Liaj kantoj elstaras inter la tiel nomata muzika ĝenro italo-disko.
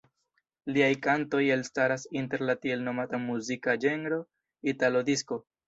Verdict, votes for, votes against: accepted, 2, 0